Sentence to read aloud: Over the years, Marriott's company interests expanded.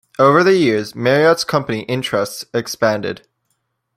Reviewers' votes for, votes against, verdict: 2, 0, accepted